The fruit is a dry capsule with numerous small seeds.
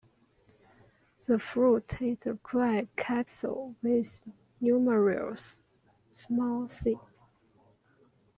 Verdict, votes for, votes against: rejected, 1, 2